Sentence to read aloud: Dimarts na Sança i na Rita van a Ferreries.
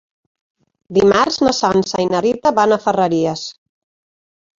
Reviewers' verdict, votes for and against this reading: accepted, 4, 0